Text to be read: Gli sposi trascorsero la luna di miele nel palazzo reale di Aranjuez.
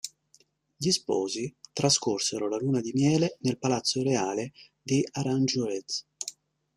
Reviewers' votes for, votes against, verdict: 0, 2, rejected